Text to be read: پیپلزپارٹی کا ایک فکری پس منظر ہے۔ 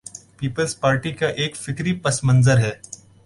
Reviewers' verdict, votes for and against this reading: accepted, 2, 0